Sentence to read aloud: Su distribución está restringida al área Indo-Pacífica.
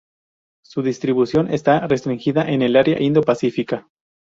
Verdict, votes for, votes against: rejected, 0, 4